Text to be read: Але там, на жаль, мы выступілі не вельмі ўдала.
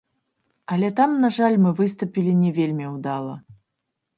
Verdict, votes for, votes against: rejected, 1, 3